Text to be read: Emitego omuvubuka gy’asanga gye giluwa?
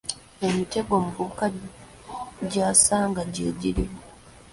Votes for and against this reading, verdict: 2, 0, accepted